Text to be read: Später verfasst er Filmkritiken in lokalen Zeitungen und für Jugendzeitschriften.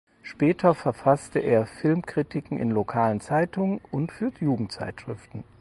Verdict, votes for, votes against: rejected, 0, 4